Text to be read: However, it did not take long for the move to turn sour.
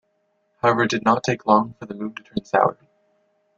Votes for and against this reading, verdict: 1, 2, rejected